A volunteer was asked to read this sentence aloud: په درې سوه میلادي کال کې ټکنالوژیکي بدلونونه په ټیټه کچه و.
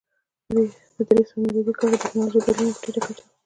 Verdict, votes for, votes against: accepted, 2, 0